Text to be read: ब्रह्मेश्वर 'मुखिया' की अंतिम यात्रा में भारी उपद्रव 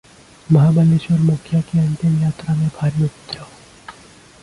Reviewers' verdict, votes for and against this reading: rejected, 0, 2